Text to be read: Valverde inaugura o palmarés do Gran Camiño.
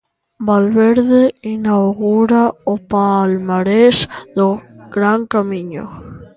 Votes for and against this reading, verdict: 1, 2, rejected